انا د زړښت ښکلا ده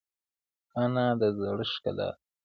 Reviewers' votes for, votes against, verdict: 1, 2, rejected